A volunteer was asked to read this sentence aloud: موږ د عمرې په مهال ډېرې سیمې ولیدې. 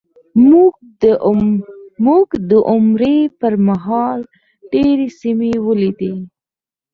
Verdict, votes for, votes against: rejected, 0, 4